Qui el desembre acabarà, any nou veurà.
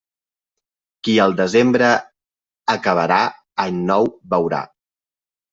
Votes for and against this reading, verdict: 2, 0, accepted